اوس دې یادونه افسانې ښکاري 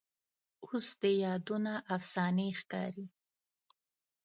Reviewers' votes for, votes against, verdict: 2, 0, accepted